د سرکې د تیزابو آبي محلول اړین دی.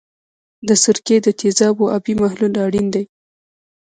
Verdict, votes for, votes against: accepted, 3, 2